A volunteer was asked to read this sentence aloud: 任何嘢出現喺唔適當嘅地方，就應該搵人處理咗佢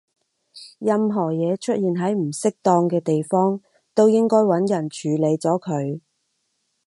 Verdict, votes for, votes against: rejected, 2, 4